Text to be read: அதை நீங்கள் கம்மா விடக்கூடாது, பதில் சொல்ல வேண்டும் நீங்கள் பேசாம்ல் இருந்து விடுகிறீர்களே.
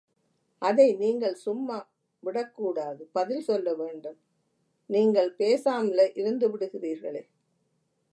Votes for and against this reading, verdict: 0, 3, rejected